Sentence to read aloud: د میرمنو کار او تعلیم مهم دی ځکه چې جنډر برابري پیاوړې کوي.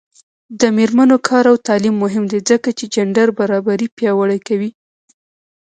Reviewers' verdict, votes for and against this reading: rejected, 1, 2